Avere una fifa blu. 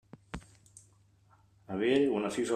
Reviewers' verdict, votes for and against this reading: rejected, 0, 2